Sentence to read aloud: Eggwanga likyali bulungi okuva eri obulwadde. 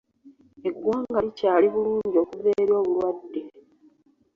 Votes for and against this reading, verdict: 2, 0, accepted